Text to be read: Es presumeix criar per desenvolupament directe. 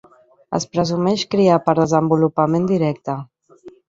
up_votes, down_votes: 1, 2